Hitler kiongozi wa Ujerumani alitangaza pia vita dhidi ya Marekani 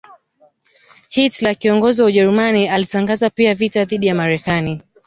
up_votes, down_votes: 0, 2